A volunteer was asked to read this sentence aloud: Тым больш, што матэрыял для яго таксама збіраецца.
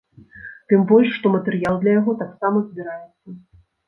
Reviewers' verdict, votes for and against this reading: rejected, 1, 2